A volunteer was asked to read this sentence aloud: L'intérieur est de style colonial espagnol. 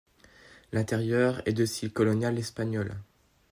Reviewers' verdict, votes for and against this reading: accepted, 2, 0